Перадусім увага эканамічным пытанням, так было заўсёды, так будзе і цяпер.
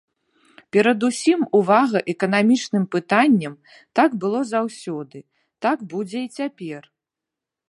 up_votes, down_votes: 2, 0